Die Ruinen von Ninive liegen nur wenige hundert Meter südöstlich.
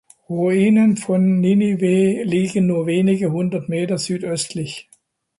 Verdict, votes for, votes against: rejected, 0, 2